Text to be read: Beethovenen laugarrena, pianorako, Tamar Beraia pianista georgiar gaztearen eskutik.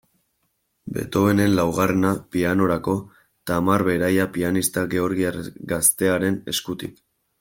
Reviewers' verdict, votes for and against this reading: accepted, 2, 1